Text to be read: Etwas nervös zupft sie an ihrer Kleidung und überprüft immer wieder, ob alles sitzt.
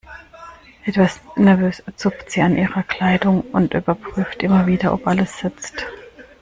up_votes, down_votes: 2, 0